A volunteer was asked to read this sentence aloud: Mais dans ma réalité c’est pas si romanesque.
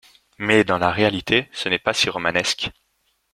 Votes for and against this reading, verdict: 0, 2, rejected